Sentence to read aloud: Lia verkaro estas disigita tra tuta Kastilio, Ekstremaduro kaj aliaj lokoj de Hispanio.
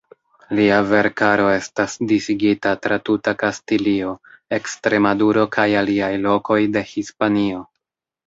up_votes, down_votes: 1, 2